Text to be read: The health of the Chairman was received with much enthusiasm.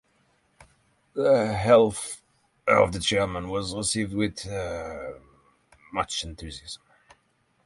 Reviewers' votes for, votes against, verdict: 0, 6, rejected